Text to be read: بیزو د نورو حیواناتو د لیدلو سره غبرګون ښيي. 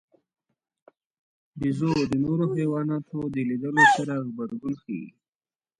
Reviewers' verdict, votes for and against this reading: rejected, 0, 2